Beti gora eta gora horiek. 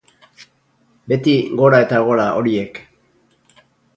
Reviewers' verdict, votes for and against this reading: rejected, 0, 2